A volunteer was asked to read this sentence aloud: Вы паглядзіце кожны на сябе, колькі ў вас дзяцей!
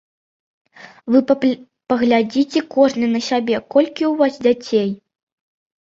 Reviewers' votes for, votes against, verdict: 1, 2, rejected